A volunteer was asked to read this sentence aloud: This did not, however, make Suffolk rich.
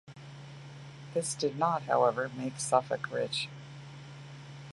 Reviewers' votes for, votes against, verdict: 2, 1, accepted